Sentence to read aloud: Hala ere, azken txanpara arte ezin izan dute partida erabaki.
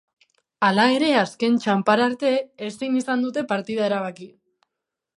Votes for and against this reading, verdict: 5, 0, accepted